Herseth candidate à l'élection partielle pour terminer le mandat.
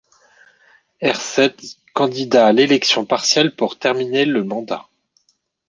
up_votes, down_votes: 0, 2